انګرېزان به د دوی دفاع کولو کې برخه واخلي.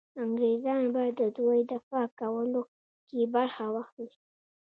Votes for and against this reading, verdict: 2, 0, accepted